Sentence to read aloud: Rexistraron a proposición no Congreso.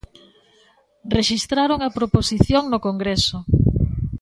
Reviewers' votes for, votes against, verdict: 2, 0, accepted